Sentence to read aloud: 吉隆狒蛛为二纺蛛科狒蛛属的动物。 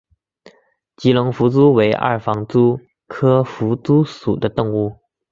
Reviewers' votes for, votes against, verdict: 1, 2, rejected